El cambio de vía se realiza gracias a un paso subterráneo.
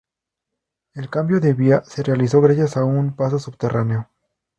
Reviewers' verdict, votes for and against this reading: rejected, 0, 2